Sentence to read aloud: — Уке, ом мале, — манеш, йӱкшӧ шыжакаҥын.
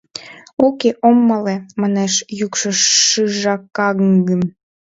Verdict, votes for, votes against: rejected, 1, 2